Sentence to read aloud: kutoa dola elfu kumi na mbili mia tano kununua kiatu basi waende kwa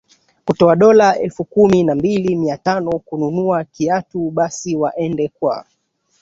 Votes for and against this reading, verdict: 2, 1, accepted